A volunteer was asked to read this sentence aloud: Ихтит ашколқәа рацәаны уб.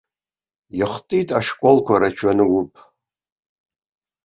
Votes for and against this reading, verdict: 1, 2, rejected